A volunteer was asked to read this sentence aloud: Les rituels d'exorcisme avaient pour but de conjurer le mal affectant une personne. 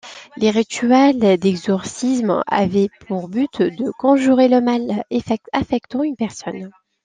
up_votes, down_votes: 0, 2